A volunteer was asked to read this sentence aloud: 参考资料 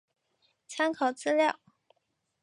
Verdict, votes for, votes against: accepted, 2, 0